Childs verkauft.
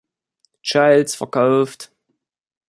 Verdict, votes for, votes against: rejected, 1, 2